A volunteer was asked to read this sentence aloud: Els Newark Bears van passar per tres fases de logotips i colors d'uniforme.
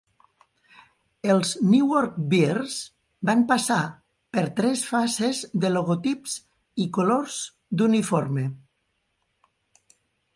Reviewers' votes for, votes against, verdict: 2, 0, accepted